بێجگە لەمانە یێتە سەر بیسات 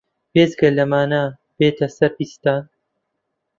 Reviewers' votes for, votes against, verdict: 0, 2, rejected